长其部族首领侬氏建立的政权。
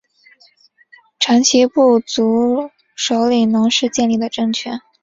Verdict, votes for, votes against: accepted, 7, 0